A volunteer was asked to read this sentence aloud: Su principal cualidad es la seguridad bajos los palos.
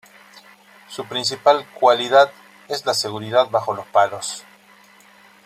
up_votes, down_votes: 2, 3